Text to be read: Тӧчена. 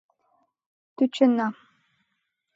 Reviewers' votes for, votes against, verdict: 2, 0, accepted